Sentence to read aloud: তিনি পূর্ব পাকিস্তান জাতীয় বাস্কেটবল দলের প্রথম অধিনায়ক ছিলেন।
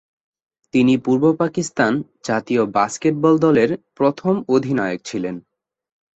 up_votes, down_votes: 3, 0